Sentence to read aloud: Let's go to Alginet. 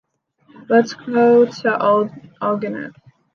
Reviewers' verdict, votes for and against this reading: rejected, 0, 2